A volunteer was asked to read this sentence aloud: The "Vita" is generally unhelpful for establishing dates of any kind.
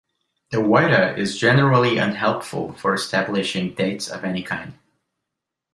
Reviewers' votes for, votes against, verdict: 1, 3, rejected